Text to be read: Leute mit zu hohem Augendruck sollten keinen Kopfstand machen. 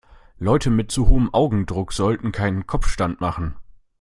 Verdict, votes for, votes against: accepted, 2, 0